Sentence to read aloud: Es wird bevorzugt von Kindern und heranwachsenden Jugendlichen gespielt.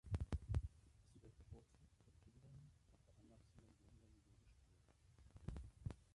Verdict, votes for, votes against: rejected, 0, 2